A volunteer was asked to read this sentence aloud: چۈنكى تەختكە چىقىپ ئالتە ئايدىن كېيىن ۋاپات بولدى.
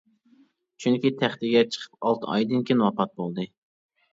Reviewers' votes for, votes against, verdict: 0, 2, rejected